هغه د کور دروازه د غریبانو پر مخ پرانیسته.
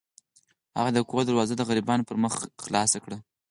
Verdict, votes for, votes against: accepted, 4, 0